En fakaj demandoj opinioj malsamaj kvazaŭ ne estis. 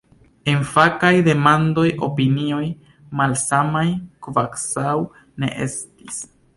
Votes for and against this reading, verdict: 0, 2, rejected